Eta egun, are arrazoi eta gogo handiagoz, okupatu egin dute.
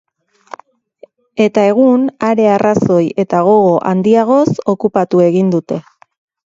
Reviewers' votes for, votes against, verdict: 4, 0, accepted